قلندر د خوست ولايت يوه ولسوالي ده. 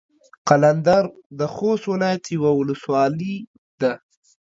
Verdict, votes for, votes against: rejected, 1, 2